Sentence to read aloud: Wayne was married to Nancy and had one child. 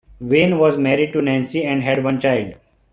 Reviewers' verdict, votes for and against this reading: accepted, 2, 0